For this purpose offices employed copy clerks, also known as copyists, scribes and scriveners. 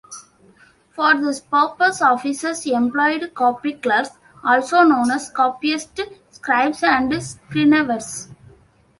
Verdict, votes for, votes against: rejected, 1, 2